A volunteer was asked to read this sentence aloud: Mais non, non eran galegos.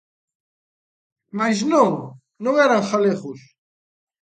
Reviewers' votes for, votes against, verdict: 2, 0, accepted